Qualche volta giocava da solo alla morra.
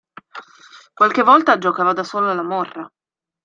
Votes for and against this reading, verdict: 2, 0, accepted